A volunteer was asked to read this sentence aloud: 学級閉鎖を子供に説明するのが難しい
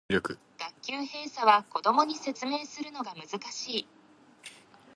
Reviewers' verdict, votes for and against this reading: rejected, 2, 6